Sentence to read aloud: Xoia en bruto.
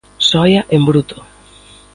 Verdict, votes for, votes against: accepted, 2, 0